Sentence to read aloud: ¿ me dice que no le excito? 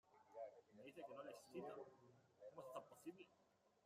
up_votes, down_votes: 0, 2